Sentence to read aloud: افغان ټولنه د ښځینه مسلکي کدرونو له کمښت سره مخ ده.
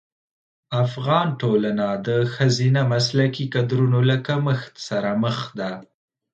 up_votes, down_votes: 2, 0